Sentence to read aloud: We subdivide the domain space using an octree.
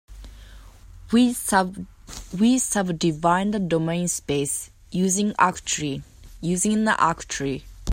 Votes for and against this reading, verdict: 0, 2, rejected